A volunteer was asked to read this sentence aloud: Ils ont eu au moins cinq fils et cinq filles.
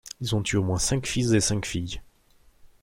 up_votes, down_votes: 2, 0